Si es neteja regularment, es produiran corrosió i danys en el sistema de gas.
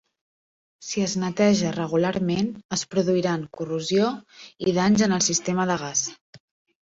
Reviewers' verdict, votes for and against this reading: accepted, 2, 0